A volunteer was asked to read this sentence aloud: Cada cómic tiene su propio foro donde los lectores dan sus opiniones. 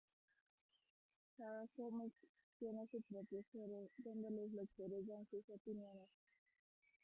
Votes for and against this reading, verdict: 0, 2, rejected